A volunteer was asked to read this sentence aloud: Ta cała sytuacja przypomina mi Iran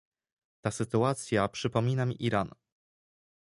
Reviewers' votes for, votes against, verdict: 0, 2, rejected